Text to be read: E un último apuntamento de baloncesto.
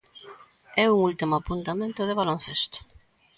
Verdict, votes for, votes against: accepted, 2, 1